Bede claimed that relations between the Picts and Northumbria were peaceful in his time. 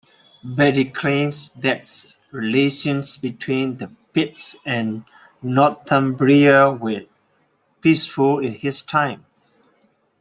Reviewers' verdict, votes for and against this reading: accepted, 2, 1